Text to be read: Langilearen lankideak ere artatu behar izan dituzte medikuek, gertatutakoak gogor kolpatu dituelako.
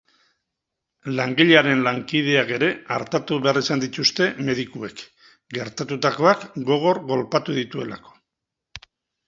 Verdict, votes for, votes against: accepted, 6, 0